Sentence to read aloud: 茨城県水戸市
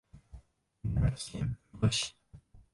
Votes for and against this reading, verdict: 0, 3, rejected